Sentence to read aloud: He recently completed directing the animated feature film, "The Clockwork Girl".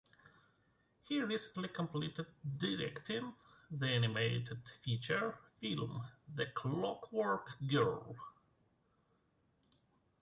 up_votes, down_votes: 2, 1